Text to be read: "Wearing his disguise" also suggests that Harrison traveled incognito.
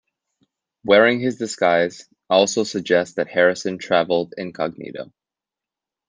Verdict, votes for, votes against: accepted, 2, 0